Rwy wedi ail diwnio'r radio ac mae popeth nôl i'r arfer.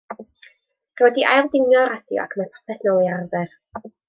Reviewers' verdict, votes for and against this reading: rejected, 1, 2